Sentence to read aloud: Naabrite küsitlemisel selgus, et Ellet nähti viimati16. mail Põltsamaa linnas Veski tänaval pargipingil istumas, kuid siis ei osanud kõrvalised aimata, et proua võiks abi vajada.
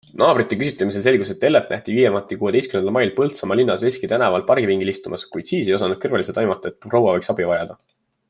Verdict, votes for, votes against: rejected, 0, 2